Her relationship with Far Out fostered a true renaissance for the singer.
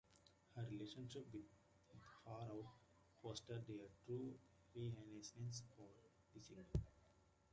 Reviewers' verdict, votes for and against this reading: rejected, 0, 2